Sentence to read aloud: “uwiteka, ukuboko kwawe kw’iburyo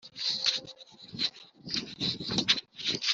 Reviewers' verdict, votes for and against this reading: rejected, 0, 2